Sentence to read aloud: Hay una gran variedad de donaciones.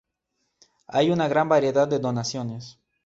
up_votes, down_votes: 2, 0